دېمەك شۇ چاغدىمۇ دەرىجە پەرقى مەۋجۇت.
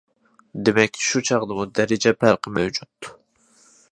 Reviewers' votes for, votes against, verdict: 2, 0, accepted